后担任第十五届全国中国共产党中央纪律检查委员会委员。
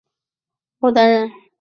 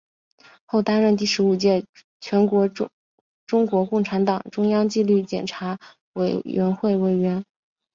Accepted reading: second